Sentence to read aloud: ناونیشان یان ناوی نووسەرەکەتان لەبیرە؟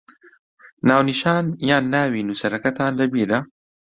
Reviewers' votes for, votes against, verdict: 2, 1, accepted